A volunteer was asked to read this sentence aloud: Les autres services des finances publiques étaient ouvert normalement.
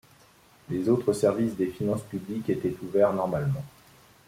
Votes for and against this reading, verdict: 2, 0, accepted